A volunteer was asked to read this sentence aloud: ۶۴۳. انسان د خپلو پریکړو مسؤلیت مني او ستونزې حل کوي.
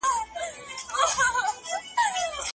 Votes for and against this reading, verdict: 0, 2, rejected